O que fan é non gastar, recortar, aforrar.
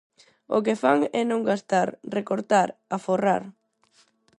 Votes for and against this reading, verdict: 4, 0, accepted